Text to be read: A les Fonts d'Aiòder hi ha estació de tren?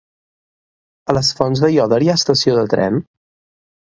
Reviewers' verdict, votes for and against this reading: accepted, 2, 0